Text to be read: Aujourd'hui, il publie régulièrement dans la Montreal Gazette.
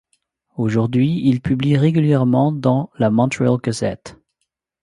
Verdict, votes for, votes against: accepted, 2, 0